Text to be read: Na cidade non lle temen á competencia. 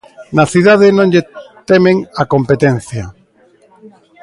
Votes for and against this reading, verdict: 2, 1, accepted